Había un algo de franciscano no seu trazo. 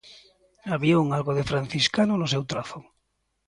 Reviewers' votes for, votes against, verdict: 2, 0, accepted